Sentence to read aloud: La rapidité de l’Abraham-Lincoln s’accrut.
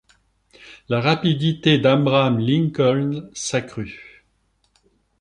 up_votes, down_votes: 0, 2